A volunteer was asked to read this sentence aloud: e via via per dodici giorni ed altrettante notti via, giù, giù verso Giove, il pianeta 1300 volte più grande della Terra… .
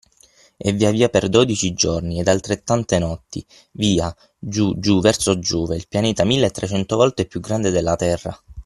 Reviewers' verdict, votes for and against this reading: rejected, 0, 2